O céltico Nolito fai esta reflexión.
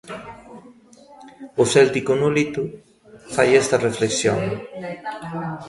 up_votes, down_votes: 2, 1